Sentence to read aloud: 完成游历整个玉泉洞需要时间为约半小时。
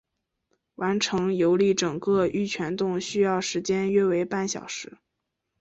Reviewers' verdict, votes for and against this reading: accepted, 6, 0